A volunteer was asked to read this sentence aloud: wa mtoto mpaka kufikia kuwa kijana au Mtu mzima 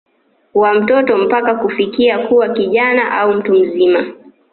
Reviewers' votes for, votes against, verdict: 2, 1, accepted